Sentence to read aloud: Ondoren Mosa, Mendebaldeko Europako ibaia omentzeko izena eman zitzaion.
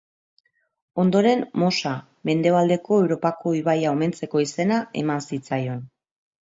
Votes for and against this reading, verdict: 2, 0, accepted